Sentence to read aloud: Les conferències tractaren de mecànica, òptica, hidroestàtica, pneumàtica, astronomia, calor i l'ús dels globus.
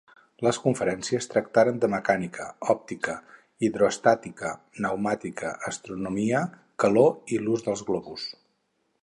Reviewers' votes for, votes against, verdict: 6, 0, accepted